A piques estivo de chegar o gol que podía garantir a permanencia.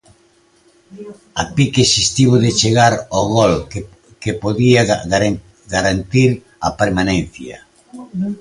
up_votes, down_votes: 0, 2